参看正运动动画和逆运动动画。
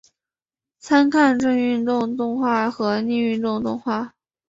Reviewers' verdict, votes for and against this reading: accepted, 2, 1